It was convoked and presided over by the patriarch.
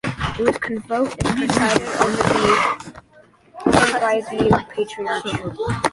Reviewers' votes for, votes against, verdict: 0, 2, rejected